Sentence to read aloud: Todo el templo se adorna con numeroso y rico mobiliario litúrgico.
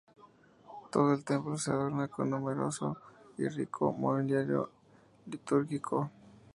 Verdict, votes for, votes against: rejected, 0, 4